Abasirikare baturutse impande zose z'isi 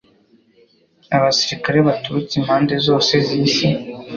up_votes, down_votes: 2, 0